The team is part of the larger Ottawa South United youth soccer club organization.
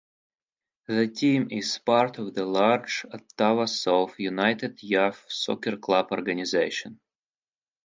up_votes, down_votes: 2, 4